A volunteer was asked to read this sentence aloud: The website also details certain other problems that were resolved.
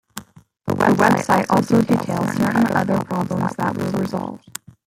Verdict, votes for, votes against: rejected, 1, 2